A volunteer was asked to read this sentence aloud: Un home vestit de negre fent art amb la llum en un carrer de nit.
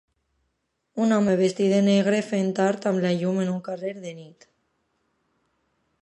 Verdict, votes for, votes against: accepted, 2, 0